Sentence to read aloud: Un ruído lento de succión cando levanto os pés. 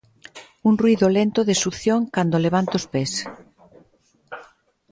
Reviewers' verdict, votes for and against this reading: accepted, 2, 0